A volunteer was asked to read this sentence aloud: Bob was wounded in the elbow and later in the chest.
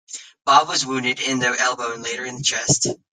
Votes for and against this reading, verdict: 2, 1, accepted